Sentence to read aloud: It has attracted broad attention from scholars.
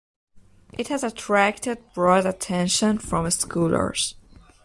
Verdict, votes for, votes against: rejected, 1, 2